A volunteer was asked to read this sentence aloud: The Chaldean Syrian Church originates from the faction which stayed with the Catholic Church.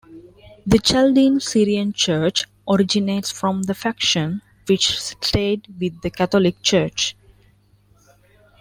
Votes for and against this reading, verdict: 1, 2, rejected